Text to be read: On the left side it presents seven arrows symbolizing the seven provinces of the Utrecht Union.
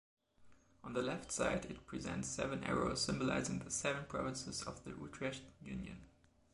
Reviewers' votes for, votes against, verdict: 0, 2, rejected